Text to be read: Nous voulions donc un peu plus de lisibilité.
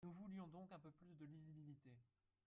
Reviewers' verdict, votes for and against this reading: rejected, 0, 3